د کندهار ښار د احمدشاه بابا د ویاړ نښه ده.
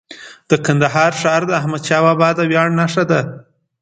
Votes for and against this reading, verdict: 2, 0, accepted